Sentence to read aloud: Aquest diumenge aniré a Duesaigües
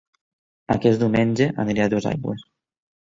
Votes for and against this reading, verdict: 1, 2, rejected